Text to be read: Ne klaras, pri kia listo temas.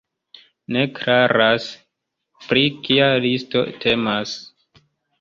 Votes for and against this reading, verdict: 3, 1, accepted